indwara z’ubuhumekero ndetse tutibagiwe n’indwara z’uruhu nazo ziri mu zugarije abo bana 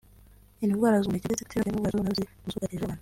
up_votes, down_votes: 0, 2